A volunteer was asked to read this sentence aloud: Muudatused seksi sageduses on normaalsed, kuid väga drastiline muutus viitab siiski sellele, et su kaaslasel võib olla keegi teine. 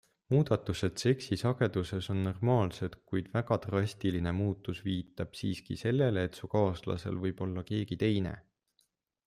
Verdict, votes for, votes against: accepted, 2, 0